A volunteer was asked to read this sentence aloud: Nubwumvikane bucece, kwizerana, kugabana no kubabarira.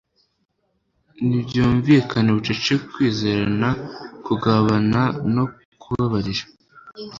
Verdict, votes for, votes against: rejected, 1, 2